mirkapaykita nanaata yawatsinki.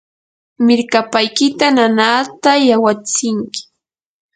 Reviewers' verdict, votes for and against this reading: accepted, 2, 0